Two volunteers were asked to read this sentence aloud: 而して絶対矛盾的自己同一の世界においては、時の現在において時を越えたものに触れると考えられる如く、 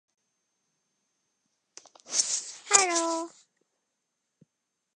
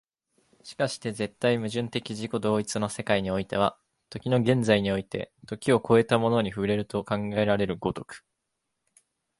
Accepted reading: second